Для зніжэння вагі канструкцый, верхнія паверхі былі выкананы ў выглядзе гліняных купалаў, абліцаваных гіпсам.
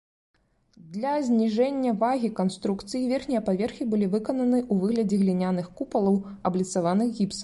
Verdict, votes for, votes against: rejected, 1, 2